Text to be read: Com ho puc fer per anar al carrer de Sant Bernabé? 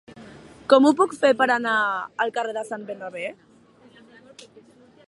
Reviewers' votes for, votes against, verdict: 2, 0, accepted